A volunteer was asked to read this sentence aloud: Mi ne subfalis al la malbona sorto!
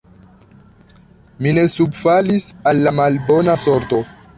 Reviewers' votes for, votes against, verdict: 3, 1, accepted